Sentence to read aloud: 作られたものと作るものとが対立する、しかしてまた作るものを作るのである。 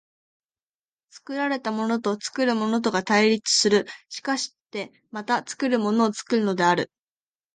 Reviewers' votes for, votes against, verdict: 2, 0, accepted